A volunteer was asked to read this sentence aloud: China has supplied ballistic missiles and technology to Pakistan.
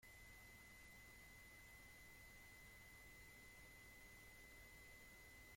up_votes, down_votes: 0, 2